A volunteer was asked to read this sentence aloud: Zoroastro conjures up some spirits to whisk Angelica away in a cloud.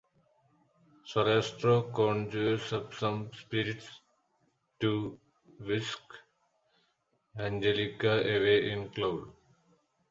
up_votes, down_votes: 0, 2